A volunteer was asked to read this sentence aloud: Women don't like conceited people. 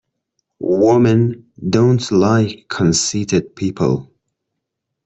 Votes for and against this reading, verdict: 2, 0, accepted